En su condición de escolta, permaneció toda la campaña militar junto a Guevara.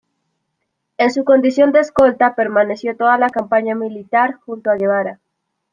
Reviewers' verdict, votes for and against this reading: rejected, 0, 2